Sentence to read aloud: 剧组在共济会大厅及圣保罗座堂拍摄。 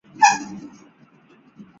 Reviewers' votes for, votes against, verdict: 1, 3, rejected